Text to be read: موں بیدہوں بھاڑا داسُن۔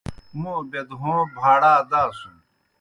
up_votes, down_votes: 2, 0